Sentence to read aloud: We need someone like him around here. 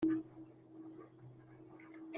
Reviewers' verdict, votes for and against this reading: rejected, 0, 2